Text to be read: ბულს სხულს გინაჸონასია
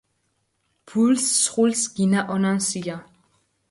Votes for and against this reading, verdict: 2, 4, rejected